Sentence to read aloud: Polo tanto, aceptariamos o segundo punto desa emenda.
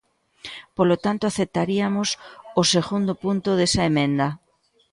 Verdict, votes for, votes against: rejected, 0, 2